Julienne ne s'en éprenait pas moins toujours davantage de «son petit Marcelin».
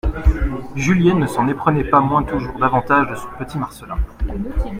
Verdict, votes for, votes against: accepted, 2, 0